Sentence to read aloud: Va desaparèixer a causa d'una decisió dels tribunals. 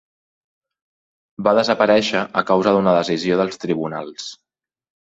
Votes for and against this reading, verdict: 3, 0, accepted